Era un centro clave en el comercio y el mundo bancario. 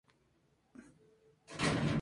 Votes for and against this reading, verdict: 0, 4, rejected